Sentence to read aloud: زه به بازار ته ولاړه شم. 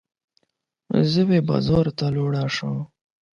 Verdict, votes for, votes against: rejected, 0, 12